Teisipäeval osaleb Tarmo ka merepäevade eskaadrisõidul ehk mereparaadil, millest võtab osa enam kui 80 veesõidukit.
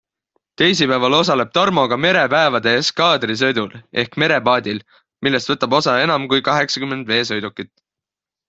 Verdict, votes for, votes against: rejected, 0, 2